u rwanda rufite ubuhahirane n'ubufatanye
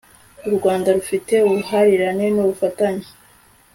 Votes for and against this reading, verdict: 2, 0, accepted